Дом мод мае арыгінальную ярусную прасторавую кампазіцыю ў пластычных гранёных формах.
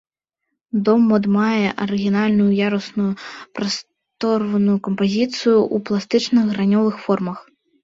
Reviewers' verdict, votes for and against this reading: rejected, 1, 2